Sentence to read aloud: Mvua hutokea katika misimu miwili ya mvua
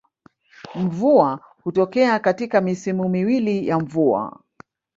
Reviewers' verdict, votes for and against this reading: rejected, 1, 2